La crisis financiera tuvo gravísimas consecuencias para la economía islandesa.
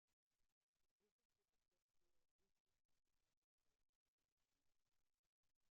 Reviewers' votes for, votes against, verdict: 0, 2, rejected